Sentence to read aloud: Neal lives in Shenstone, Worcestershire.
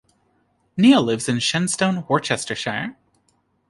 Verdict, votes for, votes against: rejected, 0, 2